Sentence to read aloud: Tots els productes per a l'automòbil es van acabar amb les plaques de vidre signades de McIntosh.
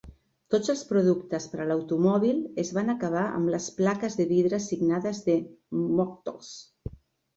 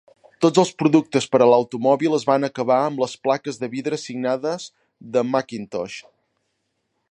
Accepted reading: second